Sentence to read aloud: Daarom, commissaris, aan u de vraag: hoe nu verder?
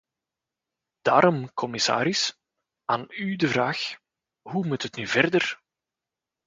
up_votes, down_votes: 0, 2